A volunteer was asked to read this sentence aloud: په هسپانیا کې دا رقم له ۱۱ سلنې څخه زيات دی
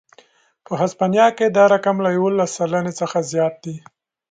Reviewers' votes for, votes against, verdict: 0, 2, rejected